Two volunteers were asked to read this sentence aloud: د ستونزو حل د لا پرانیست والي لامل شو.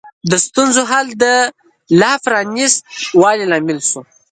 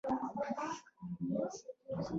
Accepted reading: first